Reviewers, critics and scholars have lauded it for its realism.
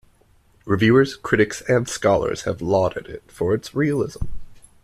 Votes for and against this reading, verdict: 2, 0, accepted